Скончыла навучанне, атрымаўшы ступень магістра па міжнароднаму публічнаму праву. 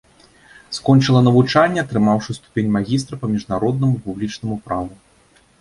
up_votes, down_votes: 2, 0